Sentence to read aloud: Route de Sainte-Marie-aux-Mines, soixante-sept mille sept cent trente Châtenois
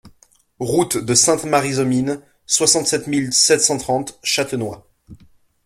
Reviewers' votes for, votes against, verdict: 2, 0, accepted